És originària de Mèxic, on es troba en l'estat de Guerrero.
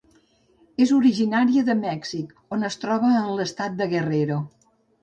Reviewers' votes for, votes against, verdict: 2, 0, accepted